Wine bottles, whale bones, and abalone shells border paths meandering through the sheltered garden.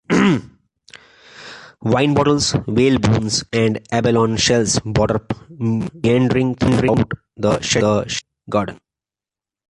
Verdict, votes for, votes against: rejected, 0, 2